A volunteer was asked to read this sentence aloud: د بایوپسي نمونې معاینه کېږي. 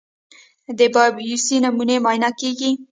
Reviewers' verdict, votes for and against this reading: accepted, 2, 0